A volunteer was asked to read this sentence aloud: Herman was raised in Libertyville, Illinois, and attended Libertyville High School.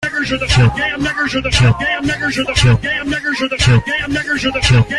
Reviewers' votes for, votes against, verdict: 0, 2, rejected